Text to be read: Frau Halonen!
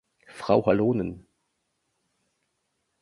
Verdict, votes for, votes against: accepted, 2, 0